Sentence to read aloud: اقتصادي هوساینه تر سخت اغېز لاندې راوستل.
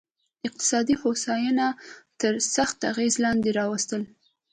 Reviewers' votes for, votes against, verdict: 2, 0, accepted